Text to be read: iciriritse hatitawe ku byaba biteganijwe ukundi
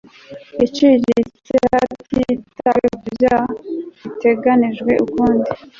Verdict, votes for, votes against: rejected, 0, 2